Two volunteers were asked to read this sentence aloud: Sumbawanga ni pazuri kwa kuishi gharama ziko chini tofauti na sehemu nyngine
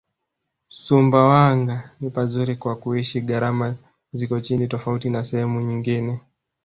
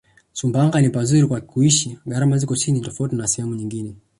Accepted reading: second